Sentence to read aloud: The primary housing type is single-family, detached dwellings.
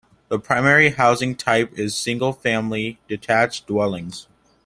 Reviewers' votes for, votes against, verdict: 2, 0, accepted